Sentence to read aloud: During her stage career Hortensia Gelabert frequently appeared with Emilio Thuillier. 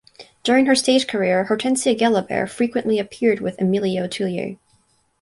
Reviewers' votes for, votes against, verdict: 2, 2, rejected